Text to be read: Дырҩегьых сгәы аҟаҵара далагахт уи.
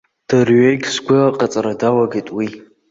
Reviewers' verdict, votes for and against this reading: rejected, 0, 2